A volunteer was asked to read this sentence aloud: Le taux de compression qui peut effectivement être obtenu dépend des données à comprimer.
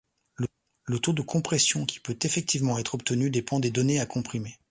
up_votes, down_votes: 1, 2